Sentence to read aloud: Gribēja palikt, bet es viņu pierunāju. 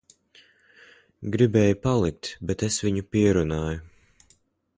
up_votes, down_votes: 2, 1